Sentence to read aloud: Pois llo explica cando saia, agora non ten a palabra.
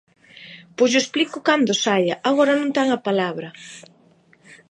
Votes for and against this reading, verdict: 0, 2, rejected